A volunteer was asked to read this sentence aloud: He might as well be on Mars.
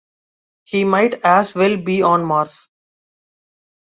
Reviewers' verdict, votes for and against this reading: accepted, 2, 0